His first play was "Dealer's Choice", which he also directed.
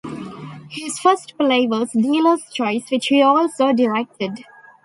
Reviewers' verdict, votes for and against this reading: rejected, 1, 2